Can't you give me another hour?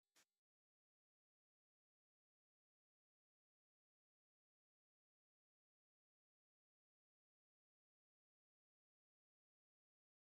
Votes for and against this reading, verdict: 0, 2, rejected